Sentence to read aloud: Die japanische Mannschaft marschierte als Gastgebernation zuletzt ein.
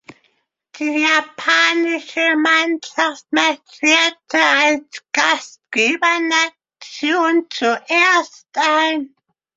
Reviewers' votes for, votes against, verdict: 0, 2, rejected